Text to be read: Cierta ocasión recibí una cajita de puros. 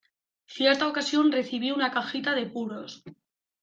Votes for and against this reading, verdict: 2, 1, accepted